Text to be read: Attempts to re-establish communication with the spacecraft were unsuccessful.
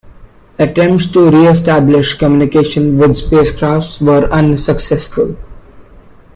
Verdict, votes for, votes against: rejected, 1, 2